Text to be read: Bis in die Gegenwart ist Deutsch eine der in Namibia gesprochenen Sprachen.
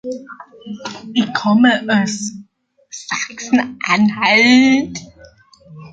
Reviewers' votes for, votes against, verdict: 0, 2, rejected